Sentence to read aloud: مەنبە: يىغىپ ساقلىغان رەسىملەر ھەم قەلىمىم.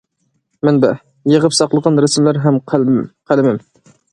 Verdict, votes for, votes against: rejected, 0, 2